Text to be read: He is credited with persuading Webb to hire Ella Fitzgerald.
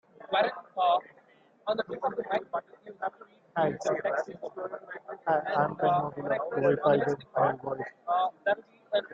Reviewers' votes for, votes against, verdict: 0, 2, rejected